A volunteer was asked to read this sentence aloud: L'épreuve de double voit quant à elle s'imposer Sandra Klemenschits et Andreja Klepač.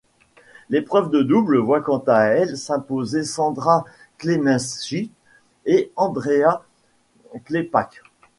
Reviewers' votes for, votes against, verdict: 1, 2, rejected